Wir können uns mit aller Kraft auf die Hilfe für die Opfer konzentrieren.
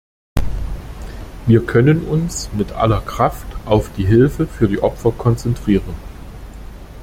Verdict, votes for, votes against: accepted, 2, 0